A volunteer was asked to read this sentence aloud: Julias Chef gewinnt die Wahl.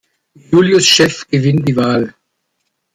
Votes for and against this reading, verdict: 1, 2, rejected